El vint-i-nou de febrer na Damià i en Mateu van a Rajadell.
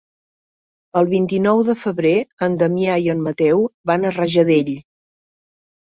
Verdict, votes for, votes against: rejected, 2, 3